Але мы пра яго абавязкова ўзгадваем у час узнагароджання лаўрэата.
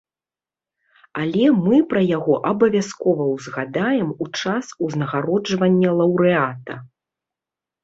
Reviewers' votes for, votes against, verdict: 0, 2, rejected